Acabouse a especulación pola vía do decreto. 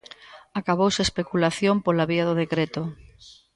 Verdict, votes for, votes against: accepted, 2, 0